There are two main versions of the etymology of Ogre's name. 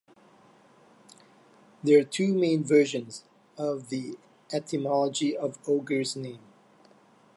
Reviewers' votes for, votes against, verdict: 2, 0, accepted